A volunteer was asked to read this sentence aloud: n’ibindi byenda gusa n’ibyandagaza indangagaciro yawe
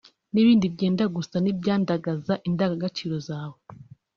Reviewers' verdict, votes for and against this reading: rejected, 1, 2